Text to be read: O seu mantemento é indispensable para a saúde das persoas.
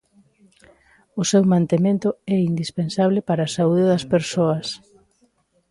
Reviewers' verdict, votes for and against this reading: accepted, 2, 0